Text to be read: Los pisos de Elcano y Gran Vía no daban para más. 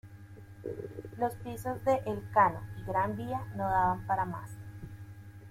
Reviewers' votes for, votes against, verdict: 0, 2, rejected